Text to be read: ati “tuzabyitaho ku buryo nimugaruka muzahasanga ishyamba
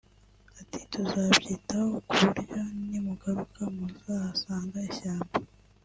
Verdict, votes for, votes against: accepted, 2, 0